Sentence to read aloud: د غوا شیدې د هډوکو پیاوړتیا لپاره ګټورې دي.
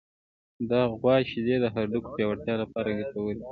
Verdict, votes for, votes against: rejected, 1, 2